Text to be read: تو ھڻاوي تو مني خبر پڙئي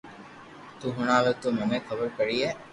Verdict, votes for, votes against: accepted, 2, 0